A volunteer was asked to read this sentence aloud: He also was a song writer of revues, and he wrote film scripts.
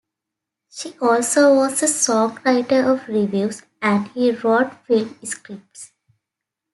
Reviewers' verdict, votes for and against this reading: rejected, 0, 2